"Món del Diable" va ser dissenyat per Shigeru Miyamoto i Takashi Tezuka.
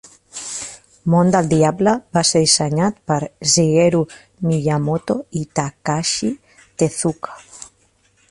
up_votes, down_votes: 1, 3